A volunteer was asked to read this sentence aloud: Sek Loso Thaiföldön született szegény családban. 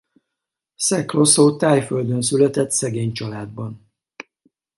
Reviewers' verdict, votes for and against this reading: accepted, 4, 0